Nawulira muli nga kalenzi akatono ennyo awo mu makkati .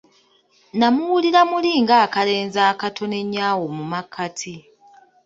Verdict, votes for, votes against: rejected, 0, 2